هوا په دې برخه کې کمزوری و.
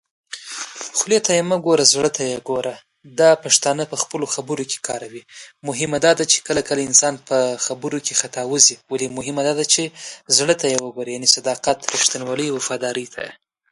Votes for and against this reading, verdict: 0, 2, rejected